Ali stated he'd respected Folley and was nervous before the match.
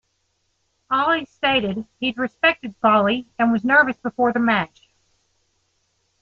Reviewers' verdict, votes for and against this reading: accepted, 2, 0